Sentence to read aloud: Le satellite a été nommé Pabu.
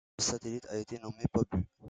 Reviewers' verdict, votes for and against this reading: rejected, 0, 2